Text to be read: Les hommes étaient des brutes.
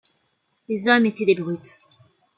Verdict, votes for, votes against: accepted, 2, 0